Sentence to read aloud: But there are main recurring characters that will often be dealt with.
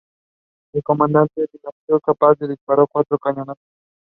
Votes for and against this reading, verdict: 0, 2, rejected